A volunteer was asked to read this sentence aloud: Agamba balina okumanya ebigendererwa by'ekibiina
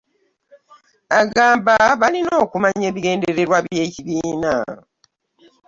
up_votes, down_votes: 2, 0